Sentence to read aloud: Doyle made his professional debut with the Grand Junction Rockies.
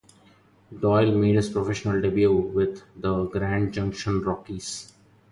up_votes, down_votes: 2, 2